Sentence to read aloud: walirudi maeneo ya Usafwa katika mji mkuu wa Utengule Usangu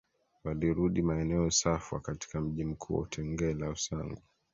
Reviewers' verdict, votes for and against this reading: rejected, 2, 3